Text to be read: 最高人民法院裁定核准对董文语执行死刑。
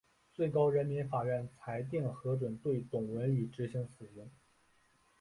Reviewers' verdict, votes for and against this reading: rejected, 1, 3